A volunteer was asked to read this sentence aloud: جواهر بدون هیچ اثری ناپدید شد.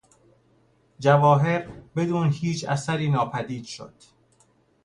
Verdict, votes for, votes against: accepted, 2, 0